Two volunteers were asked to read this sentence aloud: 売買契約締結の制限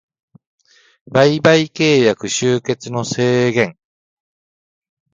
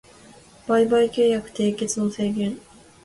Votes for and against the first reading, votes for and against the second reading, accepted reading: 1, 2, 2, 0, second